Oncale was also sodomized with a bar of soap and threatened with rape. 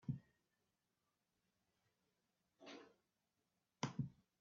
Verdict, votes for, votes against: rejected, 0, 2